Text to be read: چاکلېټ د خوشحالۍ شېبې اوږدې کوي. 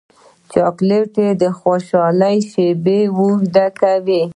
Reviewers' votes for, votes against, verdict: 0, 2, rejected